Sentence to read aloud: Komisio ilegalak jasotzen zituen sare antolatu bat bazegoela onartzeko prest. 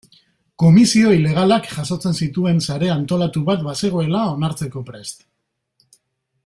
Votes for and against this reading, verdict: 2, 0, accepted